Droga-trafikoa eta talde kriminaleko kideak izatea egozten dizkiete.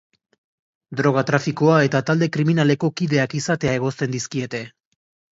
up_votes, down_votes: 2, 0